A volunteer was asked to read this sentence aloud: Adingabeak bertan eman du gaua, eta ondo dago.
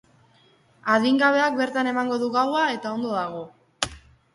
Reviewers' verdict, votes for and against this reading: accepted, 2, 1